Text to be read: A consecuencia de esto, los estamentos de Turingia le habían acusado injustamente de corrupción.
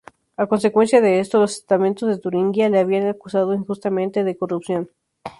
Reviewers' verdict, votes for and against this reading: accepted, 4, 0